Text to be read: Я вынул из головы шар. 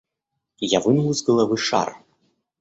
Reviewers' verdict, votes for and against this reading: accepted, 2, 0